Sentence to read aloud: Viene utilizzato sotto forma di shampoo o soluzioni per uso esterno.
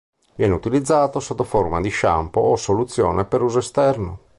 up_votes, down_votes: 2, 3